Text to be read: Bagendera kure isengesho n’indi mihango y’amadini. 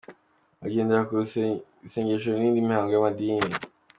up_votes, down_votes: 2, 1